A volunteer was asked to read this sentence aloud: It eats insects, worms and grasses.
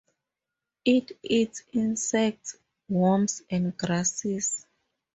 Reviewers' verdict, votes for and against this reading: accepted, 4, 0